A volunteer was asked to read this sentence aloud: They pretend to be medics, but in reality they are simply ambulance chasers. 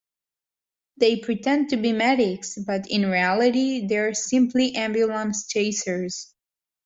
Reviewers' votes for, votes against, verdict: 2, 1, accepted